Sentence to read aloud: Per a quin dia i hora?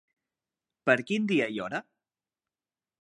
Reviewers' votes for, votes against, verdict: 1, 2, rejected